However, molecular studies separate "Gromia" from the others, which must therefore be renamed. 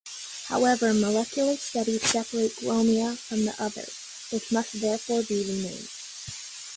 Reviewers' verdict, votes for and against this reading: accepted, 2, 0